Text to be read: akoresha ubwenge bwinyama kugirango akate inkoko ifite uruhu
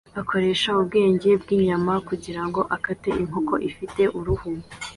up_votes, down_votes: 2, 0